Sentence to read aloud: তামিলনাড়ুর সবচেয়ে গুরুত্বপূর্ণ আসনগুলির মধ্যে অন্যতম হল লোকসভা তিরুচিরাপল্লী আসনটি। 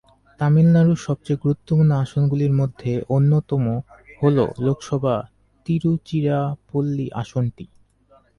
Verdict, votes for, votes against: accepted, 2, 0